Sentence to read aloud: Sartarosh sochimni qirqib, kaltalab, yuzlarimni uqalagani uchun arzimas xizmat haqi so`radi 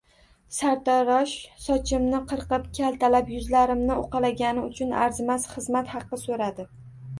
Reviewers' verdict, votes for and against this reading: rejected, 1, 2